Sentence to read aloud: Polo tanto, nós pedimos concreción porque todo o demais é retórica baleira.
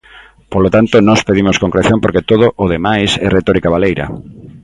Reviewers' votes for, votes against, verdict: 2, 0, accepted